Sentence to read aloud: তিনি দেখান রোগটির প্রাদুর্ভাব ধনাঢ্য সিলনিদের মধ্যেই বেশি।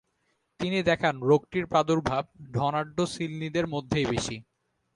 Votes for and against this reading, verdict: 2, 0, accepted